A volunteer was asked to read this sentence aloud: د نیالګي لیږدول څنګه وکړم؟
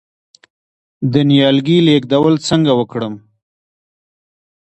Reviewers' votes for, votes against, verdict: 1, 2, rejected